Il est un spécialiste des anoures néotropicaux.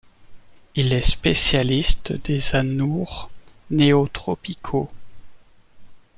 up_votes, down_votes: 2, 1